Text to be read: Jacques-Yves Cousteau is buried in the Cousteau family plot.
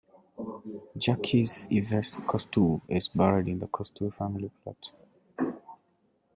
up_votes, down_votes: 0, 2